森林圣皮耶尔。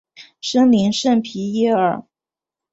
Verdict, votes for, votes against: accepted, 4, 0